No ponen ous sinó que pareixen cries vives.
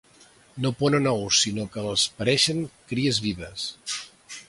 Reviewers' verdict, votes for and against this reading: rejected, 0, 2